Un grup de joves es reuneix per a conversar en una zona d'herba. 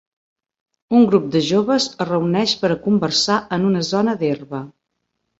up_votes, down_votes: 3, 0